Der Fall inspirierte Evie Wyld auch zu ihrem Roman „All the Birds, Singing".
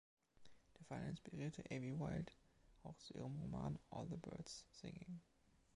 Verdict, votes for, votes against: accepted, 2, 0